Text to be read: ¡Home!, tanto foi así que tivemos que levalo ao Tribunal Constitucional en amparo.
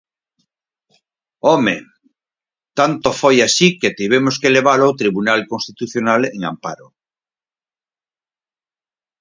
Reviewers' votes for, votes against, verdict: 4, 0, accepted